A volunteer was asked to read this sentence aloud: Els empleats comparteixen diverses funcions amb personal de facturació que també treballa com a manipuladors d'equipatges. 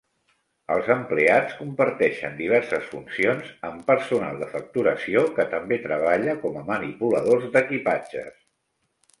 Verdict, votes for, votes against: accepted, 2, 0